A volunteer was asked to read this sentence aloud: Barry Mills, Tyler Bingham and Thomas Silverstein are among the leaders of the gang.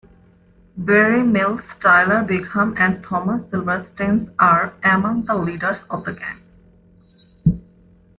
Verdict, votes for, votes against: rejected, 0, 2